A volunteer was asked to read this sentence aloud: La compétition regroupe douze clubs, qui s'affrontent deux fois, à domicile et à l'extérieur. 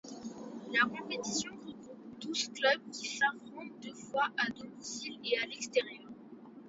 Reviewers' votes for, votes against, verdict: 2, 1, accepted